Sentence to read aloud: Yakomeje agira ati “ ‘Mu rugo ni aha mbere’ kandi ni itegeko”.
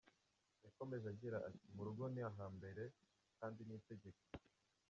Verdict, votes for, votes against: rejected, 0, 2